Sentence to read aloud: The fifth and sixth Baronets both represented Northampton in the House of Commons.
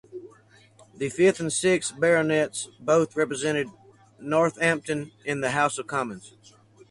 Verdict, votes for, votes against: accepted, 2, 0